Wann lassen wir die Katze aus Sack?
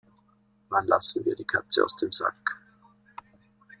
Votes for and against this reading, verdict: 0, 2, rejected